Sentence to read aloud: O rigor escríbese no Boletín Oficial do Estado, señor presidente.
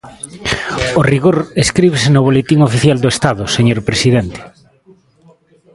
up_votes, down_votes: 2, 1